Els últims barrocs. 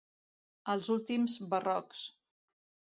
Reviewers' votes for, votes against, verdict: 2, 0, accepted